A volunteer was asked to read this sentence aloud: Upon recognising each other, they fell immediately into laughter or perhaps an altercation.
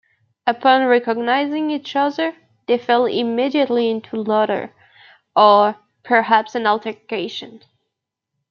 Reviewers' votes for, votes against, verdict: 0, 2, rejected